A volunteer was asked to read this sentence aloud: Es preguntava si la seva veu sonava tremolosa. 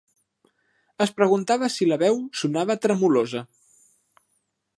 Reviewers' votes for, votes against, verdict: 0, 2, rejected